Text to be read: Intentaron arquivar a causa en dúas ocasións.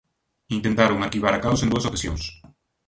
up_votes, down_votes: 2, 0